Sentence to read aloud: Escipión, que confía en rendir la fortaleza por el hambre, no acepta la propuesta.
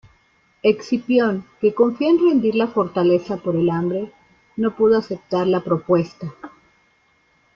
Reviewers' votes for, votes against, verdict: 1, 2, rejected